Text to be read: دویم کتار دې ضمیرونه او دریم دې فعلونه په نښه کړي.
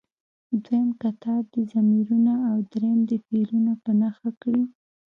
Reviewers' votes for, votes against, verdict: 2, 1, accepted